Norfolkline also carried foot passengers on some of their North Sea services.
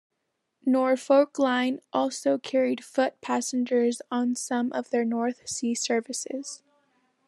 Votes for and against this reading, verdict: 2, 0, accepted